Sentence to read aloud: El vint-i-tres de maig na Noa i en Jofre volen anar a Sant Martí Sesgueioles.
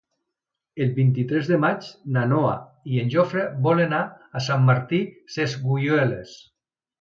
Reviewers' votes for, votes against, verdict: 1, 2, rejected